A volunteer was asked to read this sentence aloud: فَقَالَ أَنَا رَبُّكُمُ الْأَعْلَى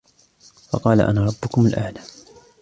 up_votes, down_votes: 2, 1